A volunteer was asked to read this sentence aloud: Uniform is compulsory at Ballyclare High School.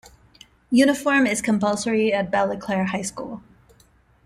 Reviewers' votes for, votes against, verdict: 2, 0, accepted